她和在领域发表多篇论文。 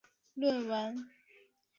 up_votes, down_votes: 1, 4